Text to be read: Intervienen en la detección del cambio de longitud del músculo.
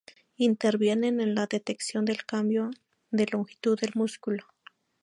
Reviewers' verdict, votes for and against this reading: accepted, 2, 0